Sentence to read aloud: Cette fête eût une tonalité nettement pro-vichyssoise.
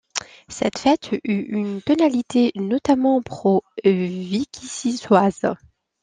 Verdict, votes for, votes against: rejected, 0, 2